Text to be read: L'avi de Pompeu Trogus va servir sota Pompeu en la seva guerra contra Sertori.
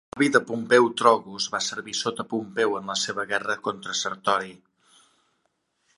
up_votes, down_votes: 1, 2